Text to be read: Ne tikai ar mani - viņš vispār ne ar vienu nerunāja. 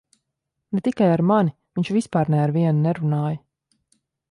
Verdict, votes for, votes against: accepted, 2, 0